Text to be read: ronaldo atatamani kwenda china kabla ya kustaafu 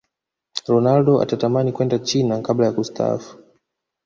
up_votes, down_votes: 2, 0